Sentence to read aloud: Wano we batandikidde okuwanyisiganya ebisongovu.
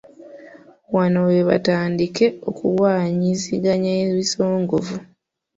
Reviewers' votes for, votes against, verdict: 0, 2, rejected